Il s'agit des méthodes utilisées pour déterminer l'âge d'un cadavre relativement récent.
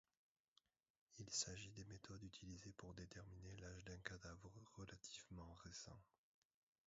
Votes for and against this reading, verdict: 0, 2, rejected